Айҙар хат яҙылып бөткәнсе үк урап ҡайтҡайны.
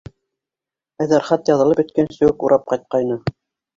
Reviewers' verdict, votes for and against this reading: accepted, 3, 0